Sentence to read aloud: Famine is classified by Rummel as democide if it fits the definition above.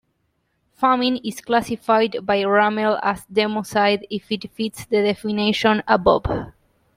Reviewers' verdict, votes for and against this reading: accepted, 2, 1